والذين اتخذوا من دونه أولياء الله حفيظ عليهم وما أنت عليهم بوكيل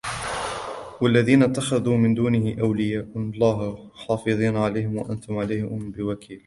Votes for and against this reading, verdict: 1, 2, rejected